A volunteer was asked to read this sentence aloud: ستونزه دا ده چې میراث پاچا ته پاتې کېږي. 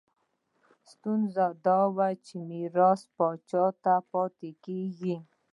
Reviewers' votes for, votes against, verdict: 2, 1, accepted